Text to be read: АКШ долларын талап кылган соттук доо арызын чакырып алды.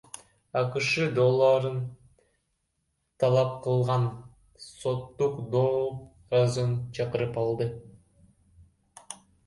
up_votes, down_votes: 0, 2